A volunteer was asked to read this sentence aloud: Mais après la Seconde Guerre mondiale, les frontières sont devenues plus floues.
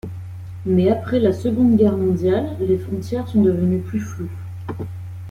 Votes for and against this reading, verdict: 2, 0, accepted